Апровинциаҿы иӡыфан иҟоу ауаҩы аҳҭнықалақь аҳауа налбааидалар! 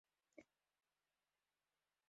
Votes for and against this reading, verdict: 0, 2, rejected